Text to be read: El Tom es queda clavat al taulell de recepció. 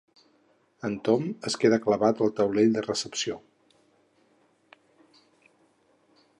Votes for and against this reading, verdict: 2, 4, rejected